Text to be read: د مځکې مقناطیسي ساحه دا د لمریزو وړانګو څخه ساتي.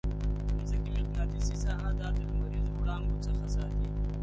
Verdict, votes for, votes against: rejected, 3, 8